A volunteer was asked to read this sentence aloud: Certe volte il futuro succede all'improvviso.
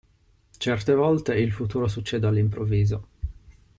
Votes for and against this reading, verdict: 2, 0, accepted